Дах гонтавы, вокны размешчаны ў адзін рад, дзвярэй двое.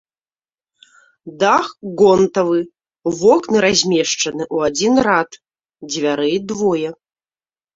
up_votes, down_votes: 1, 2